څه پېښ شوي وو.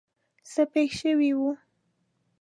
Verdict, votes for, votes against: accepted, 2, 0